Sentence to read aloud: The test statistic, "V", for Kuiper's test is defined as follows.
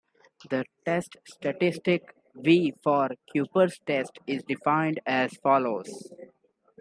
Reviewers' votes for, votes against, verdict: 2, 1, accepted